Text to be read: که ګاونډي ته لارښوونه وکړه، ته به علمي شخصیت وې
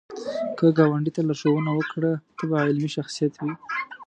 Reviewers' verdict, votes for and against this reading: rejected, 1, 2